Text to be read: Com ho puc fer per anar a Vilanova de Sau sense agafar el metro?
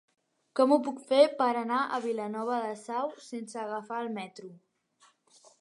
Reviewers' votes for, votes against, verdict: 1, 2, rejected